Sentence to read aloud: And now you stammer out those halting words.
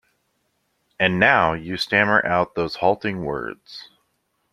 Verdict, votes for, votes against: accepted, 2, 0